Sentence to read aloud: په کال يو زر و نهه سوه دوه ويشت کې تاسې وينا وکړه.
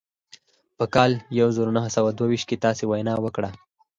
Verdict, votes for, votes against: accepted, 4, 0